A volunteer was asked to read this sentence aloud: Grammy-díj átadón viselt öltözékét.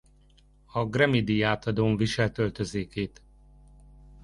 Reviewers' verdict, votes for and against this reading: rejected, 0, 2